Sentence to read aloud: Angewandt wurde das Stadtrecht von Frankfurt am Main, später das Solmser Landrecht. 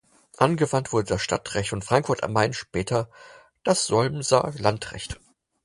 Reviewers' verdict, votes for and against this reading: accepted, 4, 0